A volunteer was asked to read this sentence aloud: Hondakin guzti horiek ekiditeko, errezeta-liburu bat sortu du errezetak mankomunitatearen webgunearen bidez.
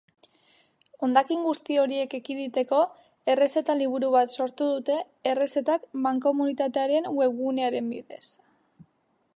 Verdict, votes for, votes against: rejected, 1, 2